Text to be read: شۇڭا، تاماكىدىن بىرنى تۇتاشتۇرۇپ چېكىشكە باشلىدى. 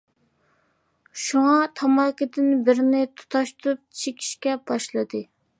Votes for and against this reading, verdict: 2, 0, accepted